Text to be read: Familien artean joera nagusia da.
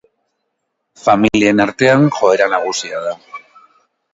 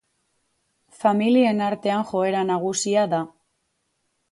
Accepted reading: second